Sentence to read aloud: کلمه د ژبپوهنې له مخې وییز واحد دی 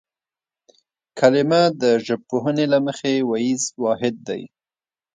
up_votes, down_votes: 2, 0